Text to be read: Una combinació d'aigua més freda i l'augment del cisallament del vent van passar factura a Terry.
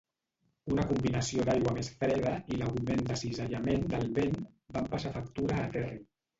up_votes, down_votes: 0, 2